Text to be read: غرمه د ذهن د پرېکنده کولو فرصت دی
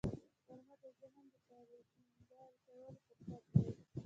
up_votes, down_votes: 0, 2